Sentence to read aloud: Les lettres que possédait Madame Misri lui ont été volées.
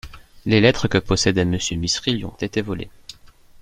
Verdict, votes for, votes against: rejected, 0, 2